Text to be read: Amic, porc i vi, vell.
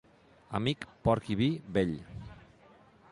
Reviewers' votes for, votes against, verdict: 2, 0, accepted